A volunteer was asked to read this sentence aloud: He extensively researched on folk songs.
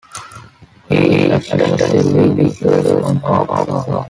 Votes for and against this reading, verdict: 1, 2, rejected